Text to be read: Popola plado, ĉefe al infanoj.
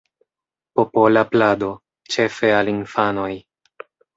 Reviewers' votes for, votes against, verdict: 2, 0, accepted